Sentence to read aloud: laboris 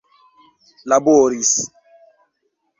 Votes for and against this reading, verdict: 0, 2, rejected